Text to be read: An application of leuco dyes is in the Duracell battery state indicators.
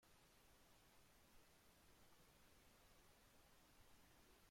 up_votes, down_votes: 0, 2